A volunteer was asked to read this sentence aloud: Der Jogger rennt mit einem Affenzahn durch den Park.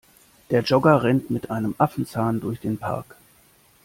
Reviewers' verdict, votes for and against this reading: accepted, 2, 0